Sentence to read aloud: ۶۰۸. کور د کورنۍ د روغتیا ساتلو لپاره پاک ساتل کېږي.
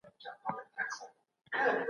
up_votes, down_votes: 0, 2